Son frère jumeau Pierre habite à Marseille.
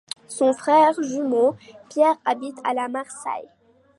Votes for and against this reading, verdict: 1, 2, rejected